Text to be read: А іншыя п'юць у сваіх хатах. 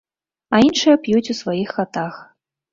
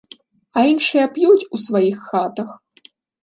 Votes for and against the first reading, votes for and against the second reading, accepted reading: 0, 2, 2, 0, second